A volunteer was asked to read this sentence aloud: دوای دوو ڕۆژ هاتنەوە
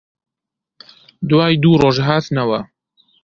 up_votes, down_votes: 2, 0